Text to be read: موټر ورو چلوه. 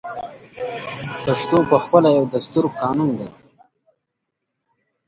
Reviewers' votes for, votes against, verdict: 0, 2, rejected